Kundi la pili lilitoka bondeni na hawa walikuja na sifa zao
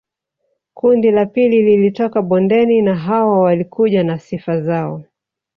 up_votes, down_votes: 1, 2